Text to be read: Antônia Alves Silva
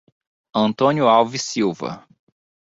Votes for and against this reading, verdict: 0, 2, rejected